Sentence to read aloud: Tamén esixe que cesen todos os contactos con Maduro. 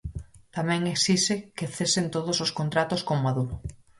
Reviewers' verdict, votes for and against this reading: rejected, 0, 4